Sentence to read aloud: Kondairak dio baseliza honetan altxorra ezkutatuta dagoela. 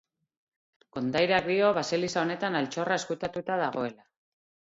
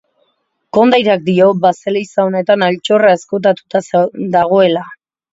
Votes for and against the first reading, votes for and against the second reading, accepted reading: 8, 2, 0, 2, first